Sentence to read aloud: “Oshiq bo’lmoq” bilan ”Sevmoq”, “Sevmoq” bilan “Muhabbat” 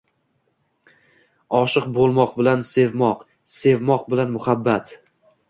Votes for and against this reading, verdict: 2, 0, accepted